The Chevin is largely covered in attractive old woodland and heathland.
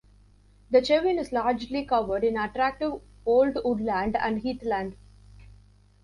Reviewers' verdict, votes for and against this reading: accepted, 3, 1